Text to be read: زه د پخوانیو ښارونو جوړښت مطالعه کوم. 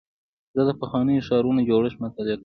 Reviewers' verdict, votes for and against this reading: accepted, 2, 0